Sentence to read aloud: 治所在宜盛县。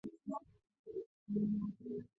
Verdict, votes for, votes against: rejected, 0, 3